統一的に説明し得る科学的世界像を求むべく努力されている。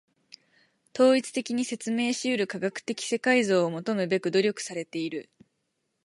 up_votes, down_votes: 4, 0